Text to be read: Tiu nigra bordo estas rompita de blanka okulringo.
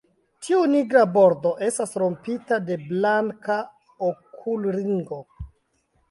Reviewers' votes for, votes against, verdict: 2, 0, accepted